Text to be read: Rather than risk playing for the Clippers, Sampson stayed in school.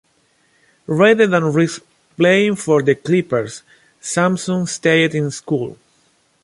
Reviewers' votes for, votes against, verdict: 2, 1, accepted